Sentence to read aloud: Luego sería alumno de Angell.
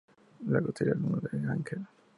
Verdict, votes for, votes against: accepted, 4, 0